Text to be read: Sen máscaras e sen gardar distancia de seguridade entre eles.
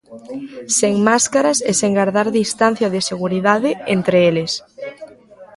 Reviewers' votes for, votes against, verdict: 0, 2, rejected